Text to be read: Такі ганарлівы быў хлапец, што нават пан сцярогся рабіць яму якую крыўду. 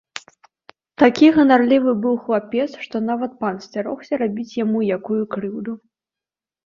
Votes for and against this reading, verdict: 3, 0, accepted